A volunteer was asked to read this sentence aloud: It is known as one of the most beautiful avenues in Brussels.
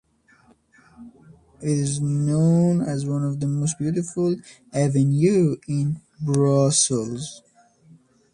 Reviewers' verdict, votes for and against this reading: rejected, 0, 2